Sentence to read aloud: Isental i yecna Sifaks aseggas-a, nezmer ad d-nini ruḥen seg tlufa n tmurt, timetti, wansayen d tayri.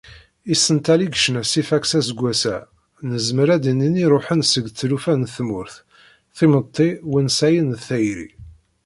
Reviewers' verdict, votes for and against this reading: rejected, 1, 2